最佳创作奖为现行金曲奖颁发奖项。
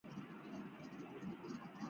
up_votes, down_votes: 2, 4